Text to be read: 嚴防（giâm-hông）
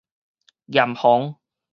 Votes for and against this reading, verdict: 2, 2, rejected